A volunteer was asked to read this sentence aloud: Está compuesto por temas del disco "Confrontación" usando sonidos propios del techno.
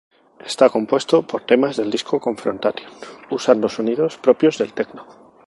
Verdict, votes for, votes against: rejected, 0, 2